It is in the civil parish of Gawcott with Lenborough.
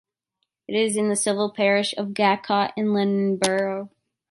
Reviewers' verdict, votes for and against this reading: rejected, 1, 2